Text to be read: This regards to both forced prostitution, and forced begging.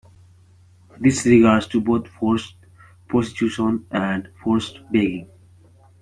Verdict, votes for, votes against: accepted, 2, 1